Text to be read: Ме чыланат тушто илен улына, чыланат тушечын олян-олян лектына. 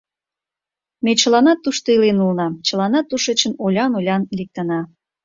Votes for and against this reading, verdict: 2, 0, accepted